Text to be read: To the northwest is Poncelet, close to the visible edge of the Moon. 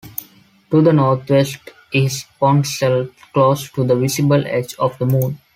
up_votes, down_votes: 1, 2